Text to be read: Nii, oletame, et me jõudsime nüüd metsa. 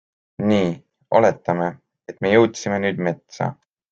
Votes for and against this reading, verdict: 2, 0, accepted